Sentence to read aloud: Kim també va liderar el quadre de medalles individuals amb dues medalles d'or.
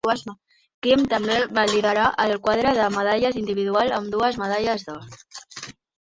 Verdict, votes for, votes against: accepted, 2, 1